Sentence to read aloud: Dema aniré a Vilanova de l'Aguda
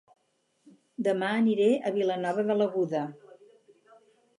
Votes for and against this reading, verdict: 4, 0, accepted